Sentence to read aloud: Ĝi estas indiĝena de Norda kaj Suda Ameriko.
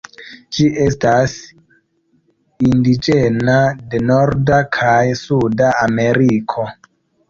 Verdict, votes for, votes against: accepted, 2, 0